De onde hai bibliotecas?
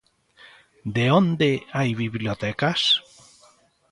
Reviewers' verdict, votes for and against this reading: accepted, 2, 0